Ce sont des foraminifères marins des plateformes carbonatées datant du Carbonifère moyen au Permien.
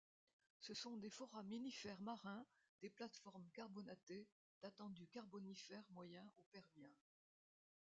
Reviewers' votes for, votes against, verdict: 1, 2, rejected